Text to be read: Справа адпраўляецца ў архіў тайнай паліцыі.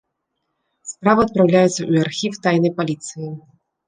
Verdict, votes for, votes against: rejected, 1, 2